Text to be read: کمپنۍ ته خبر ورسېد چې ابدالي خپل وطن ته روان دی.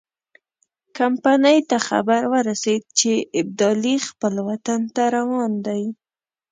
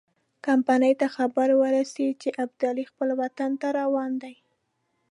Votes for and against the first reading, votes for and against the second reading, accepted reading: 0, 2, 2, 0, second